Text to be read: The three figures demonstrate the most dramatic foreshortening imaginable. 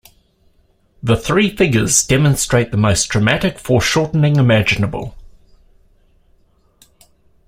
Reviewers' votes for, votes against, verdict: 2, 0, accepted